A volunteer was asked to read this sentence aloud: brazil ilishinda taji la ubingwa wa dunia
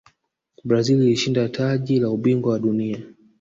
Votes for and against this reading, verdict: 2, 0, accepted